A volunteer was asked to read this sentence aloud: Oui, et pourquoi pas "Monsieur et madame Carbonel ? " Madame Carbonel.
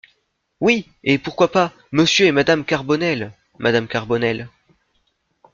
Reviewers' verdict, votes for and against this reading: accepted, 2, 0